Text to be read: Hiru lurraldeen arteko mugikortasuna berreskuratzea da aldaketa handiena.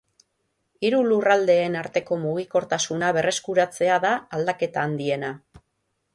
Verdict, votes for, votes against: accepted, 9, 0